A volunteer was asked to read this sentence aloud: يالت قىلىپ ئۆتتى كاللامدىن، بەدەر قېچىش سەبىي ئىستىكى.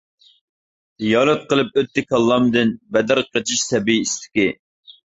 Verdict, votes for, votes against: rejected, 1, 2